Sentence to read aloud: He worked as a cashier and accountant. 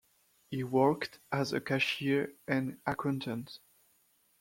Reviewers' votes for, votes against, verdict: 0, 2, rejected